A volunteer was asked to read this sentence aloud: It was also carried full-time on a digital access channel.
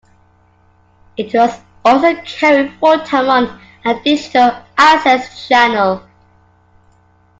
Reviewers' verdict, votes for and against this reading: accepted, 2, 1